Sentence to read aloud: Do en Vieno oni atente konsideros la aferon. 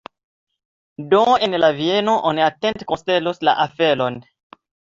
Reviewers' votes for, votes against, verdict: 2, 0, accepted